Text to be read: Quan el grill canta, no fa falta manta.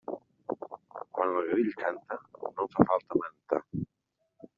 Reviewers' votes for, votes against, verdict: 0, 2, rejected